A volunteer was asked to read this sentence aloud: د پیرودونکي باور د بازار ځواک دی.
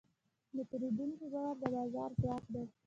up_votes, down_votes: 1, 2